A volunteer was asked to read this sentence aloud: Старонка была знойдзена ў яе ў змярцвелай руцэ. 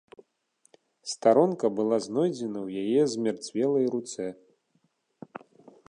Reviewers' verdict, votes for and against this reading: accepted, 3, 0